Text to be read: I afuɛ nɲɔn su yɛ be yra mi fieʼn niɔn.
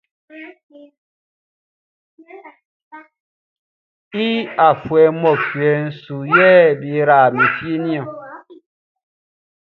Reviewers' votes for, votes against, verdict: 1, 2, rejected